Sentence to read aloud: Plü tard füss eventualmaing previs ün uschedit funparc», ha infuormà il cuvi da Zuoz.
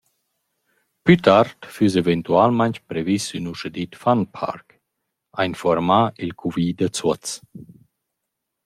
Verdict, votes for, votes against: accepted, 2, 1